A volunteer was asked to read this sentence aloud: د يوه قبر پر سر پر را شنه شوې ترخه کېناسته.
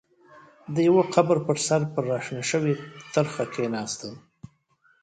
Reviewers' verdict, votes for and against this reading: accepted, 2, 0